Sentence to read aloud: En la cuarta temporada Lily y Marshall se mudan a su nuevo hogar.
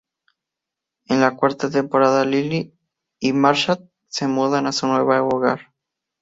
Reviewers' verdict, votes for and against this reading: accepted, 2, 0